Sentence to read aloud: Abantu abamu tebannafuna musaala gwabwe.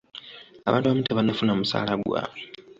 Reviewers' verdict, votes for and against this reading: rejected, 1, 2